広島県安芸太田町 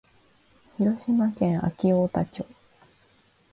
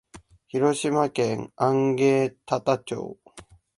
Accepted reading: first